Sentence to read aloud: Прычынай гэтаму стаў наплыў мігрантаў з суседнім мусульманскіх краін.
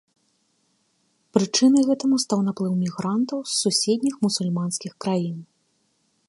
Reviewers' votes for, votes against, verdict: 2, 1, accepted